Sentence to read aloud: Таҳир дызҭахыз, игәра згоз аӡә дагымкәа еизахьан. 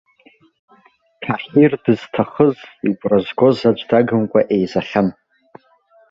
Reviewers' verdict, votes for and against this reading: rejected, 1, 2